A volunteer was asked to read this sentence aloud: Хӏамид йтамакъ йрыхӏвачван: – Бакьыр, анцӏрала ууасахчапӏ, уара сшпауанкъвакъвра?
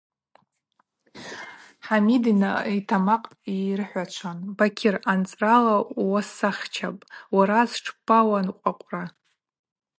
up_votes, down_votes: 2, 0